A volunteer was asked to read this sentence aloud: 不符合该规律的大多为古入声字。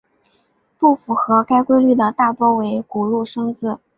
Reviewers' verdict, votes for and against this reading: accepted, 2, 0